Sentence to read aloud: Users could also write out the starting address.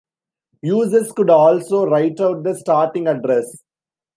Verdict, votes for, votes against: accepted, 2, 1